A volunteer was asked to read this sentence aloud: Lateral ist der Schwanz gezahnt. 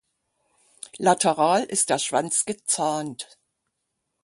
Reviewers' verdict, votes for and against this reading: accepted, 6, 0